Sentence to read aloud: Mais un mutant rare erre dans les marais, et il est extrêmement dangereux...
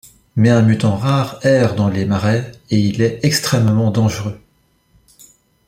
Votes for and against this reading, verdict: 2, 0, accepted